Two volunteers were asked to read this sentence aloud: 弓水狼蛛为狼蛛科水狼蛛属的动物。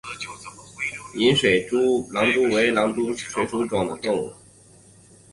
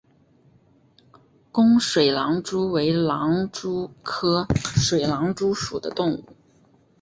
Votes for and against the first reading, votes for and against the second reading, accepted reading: 1, 2, 2, 1, second